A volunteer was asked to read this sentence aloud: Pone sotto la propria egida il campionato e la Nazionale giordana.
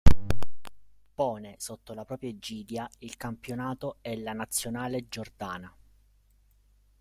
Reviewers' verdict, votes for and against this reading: rejected, 1, 2